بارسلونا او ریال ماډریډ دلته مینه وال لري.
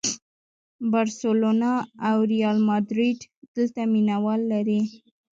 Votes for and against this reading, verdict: 2, 0, accepted